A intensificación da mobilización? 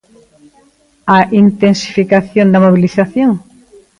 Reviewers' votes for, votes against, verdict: 2, 0, accepted